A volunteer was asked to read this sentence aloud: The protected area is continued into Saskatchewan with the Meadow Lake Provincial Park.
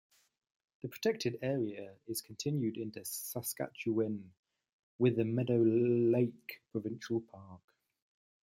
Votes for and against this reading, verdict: 1, 2, rejected